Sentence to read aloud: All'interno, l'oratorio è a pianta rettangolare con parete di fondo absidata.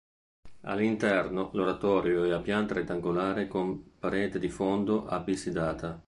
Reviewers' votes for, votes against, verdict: 0, 2, rejected